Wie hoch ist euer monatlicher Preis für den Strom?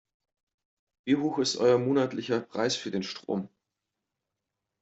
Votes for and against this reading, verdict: 2, 0, accepted